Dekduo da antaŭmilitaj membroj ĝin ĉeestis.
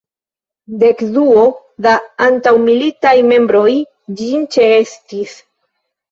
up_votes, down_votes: 0, 2